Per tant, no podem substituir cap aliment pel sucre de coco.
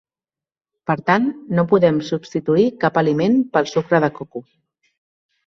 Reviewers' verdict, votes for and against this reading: accepted, 3, 1